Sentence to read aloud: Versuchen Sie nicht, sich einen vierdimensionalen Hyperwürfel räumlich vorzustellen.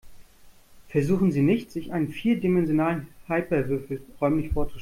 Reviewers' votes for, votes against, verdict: 0, 2, rejected